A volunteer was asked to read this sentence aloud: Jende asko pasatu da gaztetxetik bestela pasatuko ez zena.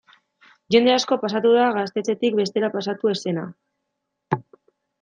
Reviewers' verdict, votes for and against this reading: rejected, 0, 2